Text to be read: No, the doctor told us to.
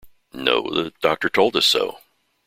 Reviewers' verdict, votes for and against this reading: rejected, 1, 2